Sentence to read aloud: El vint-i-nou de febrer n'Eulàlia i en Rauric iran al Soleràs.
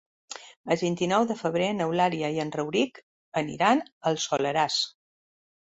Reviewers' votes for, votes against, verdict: 2, 3, rejected